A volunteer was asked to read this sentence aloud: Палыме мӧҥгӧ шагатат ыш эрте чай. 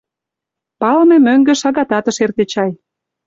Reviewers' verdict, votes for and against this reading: accepted, 2, 0